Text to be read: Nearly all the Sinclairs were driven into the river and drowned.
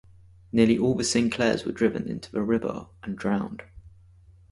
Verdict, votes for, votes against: accepted, 2, 0